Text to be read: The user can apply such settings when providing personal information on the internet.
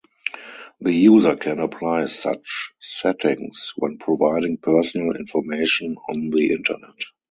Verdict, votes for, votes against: rejected, 2, 2